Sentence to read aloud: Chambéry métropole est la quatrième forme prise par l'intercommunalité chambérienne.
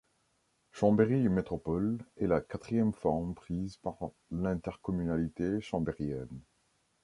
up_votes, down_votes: 0, 2